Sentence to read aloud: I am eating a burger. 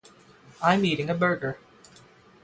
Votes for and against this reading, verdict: 3, 3, rejected